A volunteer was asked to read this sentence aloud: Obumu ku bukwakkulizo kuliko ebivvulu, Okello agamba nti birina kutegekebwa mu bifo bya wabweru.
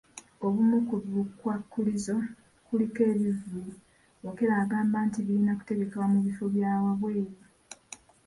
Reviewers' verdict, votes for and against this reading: accepted, 2, 0